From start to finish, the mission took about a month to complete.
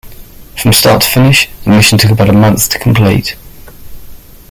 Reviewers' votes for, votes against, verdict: 1, 2, rejected